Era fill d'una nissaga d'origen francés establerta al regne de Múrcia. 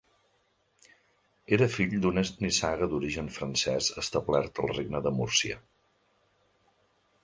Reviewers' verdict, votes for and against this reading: rejected, 1, 2